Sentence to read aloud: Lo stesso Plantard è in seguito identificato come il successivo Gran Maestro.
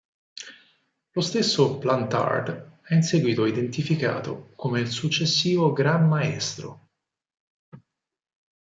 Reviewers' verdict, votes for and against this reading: accepted, 4, 2